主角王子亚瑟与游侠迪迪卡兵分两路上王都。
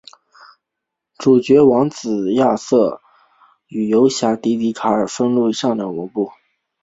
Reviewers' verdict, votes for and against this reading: accepted, 3, 1